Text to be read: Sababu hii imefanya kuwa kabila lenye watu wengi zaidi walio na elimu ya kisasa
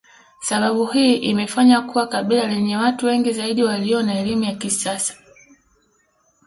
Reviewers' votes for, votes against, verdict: 2, 0, accepted